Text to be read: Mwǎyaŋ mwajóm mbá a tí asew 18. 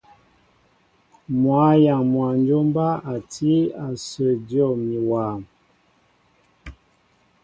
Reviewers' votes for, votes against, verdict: 0, 2, rejected